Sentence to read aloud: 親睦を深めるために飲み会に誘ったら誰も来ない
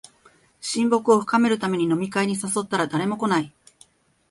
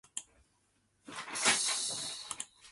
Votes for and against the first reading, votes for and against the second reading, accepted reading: 5, 0, 1, 4, first